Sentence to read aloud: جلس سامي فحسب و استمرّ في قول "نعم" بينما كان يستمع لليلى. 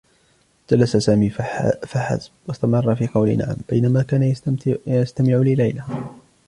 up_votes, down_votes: 0, 2